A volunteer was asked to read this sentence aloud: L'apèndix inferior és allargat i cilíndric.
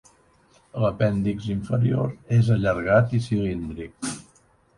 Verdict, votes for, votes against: accepted, 3, 0